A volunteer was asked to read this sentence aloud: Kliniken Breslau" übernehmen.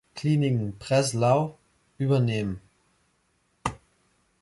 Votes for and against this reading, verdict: 2, 0, accepted